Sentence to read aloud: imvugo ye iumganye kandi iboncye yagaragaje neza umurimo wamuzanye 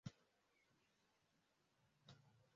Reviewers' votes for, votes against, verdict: 0, 2, rejected